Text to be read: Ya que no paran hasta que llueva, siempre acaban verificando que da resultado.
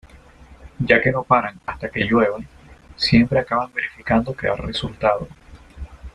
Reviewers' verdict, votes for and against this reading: accepted, 2, 0